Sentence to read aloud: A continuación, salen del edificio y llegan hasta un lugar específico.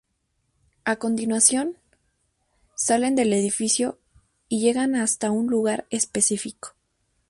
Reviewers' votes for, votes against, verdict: 2, 0, accepted